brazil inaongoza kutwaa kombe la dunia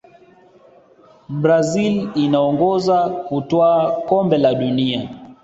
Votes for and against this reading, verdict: 2, 0, accepted